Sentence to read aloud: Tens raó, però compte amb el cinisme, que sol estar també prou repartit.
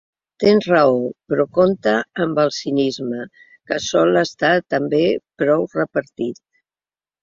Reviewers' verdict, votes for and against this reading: accepted, 2, 0